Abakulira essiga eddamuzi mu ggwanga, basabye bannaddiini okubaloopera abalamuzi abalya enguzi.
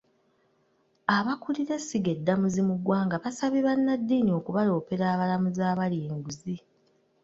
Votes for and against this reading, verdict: 2, 0, accepted